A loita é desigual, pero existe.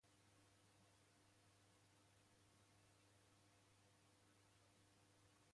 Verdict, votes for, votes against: rejected, 0, 2